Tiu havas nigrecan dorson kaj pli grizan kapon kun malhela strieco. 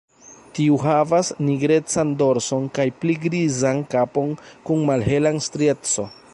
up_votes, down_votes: 2, 0